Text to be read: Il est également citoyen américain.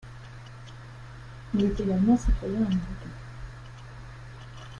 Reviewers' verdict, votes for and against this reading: rejected, 0, 2